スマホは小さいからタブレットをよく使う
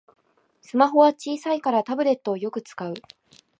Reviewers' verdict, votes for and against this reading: accepted, 2, 0